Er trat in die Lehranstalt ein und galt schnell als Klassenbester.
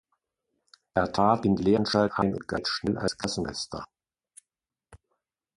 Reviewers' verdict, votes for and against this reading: rejected, 0, 2